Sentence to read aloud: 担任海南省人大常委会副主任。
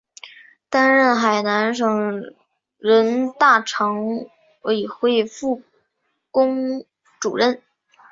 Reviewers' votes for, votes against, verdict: 2, 4, rejected